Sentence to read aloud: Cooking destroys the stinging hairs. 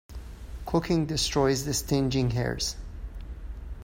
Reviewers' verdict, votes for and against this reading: rejected, 1, 2